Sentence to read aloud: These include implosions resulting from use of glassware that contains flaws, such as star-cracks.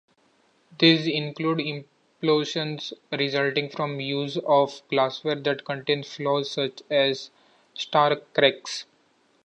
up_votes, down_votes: 2, 0